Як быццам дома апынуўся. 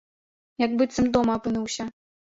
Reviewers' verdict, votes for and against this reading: accepted, 2, 0